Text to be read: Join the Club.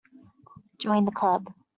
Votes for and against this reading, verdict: 3, 0, accepted